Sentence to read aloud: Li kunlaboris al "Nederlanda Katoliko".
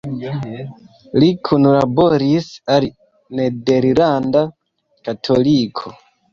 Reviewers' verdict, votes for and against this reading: accepted, 2, 0